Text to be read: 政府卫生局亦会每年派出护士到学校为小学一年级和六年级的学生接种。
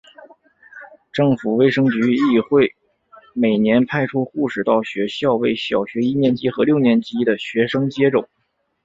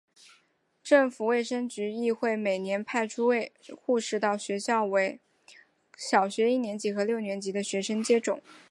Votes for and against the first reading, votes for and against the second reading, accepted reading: 2, 1, 0, 2, first